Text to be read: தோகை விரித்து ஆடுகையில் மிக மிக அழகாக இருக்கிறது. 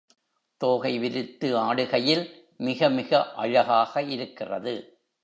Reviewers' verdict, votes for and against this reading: accepted, 2, 0